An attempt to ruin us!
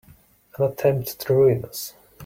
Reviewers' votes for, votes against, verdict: 2, 0, accepted